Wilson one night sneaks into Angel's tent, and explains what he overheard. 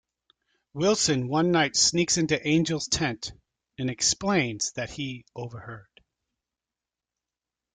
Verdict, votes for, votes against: rejected, 1, 2